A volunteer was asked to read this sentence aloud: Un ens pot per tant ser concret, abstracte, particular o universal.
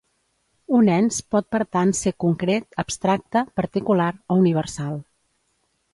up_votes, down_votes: 2, 0